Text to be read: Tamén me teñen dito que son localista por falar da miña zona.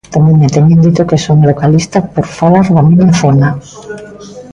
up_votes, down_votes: 1, 2